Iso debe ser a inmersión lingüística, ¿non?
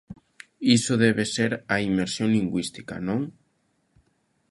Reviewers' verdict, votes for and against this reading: accepted, 2, 0